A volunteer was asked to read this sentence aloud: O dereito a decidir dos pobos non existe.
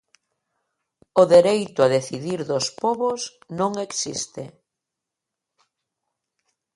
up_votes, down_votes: 2, 0